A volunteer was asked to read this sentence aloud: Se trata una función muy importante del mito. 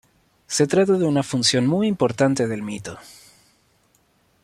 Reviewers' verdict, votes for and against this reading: rejected, 1, 2